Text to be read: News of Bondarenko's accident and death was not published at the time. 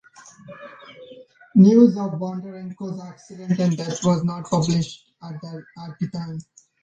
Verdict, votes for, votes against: rejected, 1, 2